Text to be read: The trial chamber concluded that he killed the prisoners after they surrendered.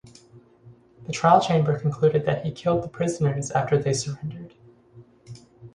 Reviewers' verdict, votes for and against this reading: accepted, 4, 0